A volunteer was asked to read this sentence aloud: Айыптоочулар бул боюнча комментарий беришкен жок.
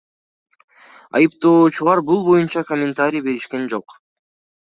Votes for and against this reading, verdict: 2, 1, accepted